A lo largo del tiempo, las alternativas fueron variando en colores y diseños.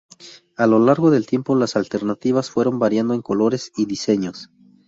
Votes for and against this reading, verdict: 0, 2, rejected